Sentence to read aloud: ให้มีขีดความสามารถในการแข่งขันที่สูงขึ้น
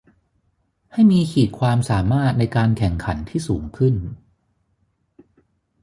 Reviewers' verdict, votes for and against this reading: accepted, 3, 0